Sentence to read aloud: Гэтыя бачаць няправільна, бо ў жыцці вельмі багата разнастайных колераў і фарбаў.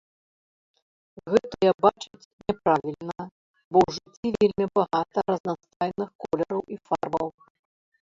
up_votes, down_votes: 0, 2